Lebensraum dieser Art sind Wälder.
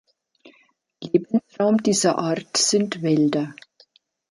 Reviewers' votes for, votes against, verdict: 2, 3, rejected